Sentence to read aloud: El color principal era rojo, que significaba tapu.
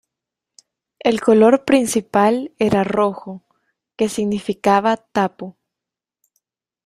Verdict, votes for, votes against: accepted, 3, 0